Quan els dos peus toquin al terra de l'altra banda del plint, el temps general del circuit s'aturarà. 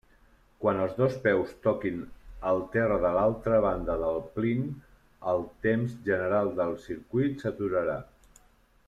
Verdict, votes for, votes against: accepted, 2, 1